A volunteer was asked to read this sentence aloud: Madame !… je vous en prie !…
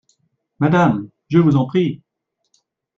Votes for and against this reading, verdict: 2, 0, accepted